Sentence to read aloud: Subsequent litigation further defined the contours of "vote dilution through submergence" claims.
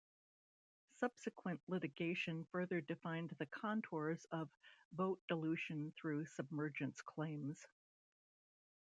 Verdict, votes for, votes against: accepted, 2, 0